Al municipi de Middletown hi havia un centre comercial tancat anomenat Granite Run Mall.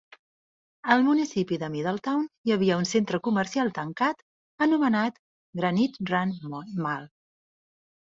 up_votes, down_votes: 0, 2